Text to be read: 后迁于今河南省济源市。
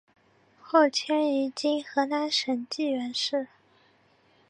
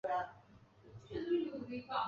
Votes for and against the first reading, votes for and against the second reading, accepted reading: 2, 0, 0, 2, first